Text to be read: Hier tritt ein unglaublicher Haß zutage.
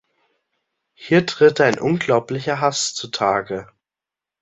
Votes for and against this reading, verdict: 2, 1, accepted